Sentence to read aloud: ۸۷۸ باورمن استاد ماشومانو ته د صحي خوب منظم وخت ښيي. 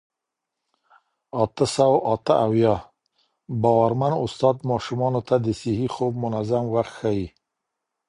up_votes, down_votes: 0, 2